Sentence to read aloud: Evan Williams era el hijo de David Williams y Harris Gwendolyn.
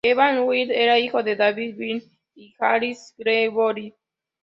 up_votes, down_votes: 1, 2